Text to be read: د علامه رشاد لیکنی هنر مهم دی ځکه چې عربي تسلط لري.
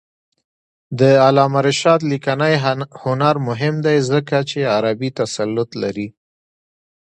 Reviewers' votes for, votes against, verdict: 1, 2, rejected